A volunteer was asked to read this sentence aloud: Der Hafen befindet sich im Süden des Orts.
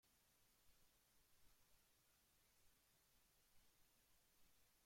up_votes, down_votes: 0, 2